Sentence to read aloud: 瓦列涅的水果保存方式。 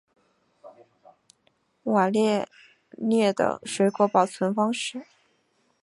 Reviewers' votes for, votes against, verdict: 3, 0, accepted